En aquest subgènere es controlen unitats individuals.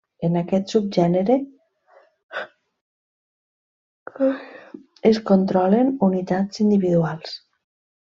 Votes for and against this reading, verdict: 0, 2, rejected